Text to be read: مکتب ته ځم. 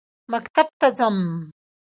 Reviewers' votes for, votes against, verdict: 3, 2, accepted